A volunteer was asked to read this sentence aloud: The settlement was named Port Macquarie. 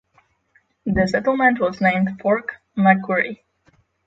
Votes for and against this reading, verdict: 0, 6, rejected